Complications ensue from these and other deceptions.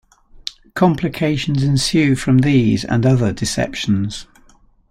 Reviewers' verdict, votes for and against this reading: accepted, 2, 0